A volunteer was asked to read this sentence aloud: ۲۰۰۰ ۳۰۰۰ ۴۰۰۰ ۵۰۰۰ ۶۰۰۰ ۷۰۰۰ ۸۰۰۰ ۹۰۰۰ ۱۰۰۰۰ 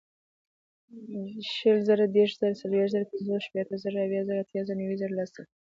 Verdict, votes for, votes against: rejected, 0, 2